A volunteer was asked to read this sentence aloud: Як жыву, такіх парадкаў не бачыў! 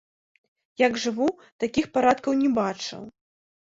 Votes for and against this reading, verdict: 2, 0, accepted